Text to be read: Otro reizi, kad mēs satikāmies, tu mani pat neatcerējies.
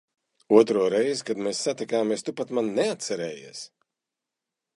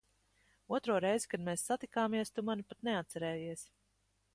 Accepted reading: second